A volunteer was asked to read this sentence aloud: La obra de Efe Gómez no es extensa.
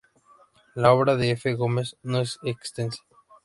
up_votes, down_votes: 2, 0